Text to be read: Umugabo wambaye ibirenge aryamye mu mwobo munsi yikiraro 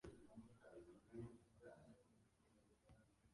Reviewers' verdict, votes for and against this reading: rejected, 0, 2